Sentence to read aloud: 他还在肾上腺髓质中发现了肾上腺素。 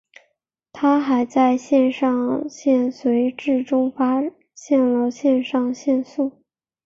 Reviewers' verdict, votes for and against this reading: accepted, 3, 0